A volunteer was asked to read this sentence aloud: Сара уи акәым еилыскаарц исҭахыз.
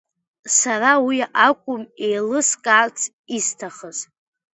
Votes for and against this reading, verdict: 2, 0, accepted